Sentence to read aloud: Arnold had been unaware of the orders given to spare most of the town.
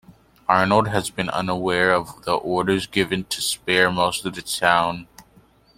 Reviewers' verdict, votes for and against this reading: rejected, 1, 2